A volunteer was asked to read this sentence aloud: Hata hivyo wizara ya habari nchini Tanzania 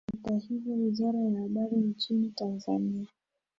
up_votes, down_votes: 0, 2